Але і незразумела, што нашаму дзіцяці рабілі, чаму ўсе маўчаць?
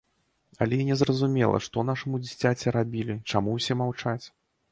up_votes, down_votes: 2, 0